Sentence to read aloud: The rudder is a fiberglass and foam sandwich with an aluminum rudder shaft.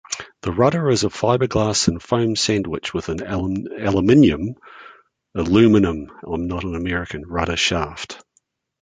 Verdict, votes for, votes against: rejected, 0, 2